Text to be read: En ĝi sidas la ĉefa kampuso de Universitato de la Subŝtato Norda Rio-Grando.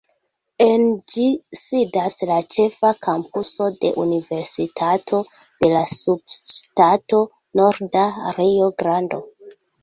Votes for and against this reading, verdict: 2, 1, accepted